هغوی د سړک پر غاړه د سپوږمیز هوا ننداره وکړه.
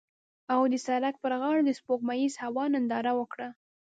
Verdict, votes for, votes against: rejected, 1, 2